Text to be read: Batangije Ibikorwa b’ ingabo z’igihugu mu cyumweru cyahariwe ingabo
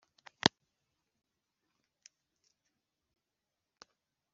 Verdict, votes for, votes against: accepted, 2, 1